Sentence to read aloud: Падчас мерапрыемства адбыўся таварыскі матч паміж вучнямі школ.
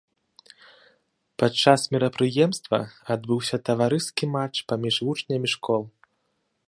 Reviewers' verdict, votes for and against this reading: accepted, 2, 0